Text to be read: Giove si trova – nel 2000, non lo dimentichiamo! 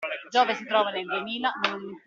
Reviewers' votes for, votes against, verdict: 0, 2, rejected